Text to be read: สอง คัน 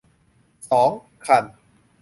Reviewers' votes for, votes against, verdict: 2, 0, accepted